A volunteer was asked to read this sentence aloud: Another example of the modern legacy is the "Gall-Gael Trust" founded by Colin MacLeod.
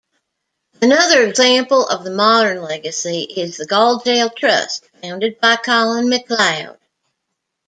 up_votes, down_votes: 2, 0